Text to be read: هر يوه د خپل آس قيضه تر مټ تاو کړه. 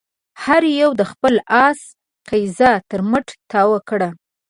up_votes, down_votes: 2, 0